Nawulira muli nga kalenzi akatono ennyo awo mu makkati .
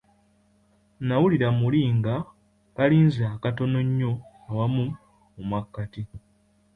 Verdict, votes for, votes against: rejected, 0, 2